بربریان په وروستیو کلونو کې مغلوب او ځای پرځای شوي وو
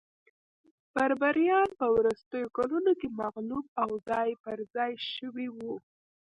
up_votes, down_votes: 1, 2